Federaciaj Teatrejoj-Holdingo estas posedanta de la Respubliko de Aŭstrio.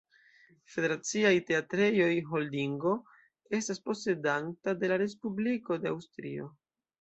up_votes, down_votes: 2, 0